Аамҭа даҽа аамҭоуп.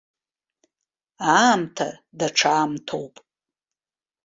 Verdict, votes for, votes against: accepted, 2, 0